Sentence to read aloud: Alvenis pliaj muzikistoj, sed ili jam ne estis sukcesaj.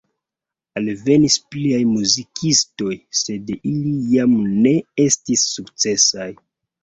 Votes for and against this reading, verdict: 2, 1, accepted